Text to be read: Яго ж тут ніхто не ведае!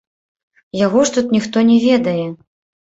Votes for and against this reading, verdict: 1, 3, rejected